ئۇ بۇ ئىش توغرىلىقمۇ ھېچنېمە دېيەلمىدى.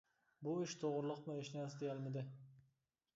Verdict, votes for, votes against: rejected, 1, 2